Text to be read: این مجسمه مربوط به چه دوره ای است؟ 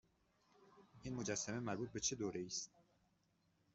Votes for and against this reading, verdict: 1, 2, rejected